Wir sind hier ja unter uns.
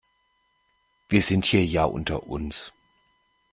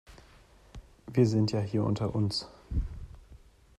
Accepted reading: first